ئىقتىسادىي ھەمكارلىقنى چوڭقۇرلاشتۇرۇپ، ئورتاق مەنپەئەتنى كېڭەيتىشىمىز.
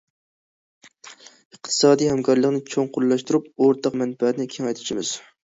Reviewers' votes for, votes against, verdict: 2, 0, accepted